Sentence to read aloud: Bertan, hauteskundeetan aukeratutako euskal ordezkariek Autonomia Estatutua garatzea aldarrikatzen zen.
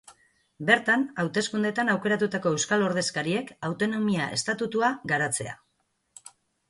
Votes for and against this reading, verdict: 0, 2, rejected